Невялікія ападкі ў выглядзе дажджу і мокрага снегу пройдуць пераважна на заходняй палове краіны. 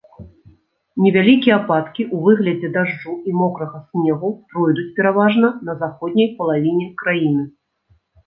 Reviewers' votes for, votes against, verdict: 0, 2, rejected